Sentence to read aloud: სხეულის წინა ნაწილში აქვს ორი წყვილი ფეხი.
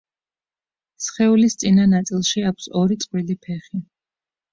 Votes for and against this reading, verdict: 2, 0, accepted